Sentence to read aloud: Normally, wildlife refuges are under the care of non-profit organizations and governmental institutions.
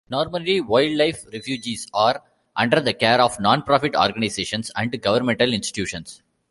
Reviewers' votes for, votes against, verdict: 2, 0, accepted